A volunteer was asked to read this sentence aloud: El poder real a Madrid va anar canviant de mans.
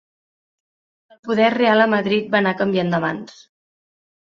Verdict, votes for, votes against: rejected, 1, 2